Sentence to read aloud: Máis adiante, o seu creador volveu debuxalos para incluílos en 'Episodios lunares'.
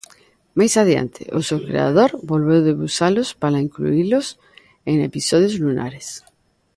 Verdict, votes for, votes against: accepted, 2, 0